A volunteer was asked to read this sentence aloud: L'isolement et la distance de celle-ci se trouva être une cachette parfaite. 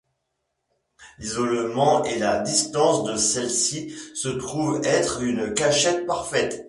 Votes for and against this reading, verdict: 1, 2, rejected